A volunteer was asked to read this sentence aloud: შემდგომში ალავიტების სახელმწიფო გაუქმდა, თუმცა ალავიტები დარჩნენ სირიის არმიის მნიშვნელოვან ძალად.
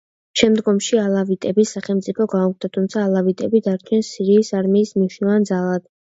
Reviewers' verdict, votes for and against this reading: accepted, 2, 0